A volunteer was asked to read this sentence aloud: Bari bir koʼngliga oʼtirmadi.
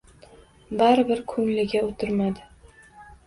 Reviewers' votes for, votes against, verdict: 1, 2, rejected